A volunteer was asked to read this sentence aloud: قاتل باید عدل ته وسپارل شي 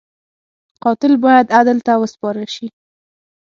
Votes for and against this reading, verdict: 6, 0, accepted